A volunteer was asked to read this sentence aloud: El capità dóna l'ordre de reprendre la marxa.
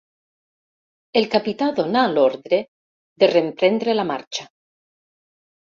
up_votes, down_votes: 2, 3